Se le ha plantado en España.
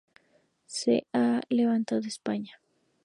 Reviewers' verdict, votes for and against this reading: rejected, 0, 4